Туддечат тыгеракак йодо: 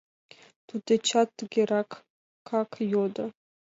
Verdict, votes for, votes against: accepted, 2, 0